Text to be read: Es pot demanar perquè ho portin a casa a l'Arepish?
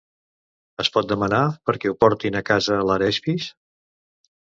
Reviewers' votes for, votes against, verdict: 1, 2, rejected